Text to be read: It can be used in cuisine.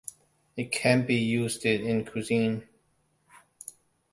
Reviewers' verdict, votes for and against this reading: accepted, 2, 1